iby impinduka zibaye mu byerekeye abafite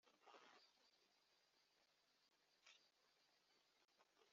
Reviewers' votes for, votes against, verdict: 1, 2, rejected